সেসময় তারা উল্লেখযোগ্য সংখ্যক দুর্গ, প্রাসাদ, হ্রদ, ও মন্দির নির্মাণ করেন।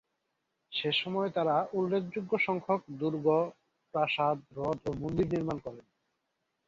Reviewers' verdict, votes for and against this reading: accepted, 2, 0